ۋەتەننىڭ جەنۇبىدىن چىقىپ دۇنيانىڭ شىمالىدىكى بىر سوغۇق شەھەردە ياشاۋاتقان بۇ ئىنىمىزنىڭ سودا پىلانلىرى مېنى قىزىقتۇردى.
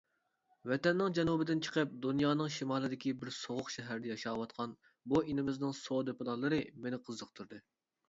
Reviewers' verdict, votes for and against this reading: accepted, 3, 0